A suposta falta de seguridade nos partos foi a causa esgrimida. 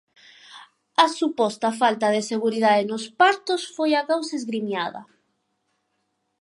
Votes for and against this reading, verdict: 0, 4, rejected